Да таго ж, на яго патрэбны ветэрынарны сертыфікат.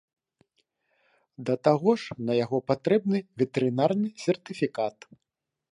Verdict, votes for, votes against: accepted, 2, 0